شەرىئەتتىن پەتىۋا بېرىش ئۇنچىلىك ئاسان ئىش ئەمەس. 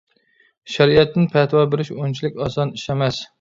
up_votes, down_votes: 2, 0